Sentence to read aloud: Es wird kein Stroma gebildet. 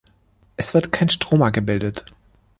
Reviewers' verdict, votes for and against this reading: accepted, 3, 0